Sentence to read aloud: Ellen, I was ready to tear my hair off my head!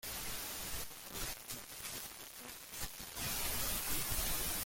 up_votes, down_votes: 0, 2